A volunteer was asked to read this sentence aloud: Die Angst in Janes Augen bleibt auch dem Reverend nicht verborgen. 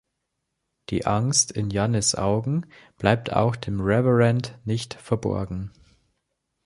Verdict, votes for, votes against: rejected, 1, 2